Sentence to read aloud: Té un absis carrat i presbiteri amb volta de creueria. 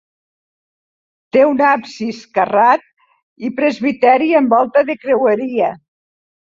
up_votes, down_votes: 2, 0